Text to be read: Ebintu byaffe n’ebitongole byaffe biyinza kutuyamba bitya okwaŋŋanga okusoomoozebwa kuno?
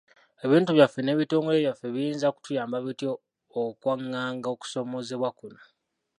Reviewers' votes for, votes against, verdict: 0, 2, rejected